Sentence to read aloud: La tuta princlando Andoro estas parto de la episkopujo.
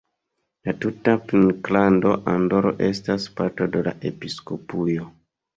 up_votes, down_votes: 0, 2